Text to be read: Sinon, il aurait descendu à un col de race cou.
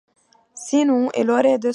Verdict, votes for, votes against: rejected, 0, 2